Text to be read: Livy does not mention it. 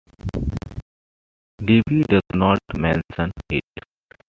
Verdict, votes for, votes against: accepted, 2, 1